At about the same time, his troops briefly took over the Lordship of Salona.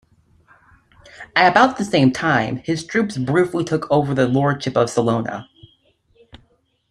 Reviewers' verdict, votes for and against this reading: accepted, 2, 1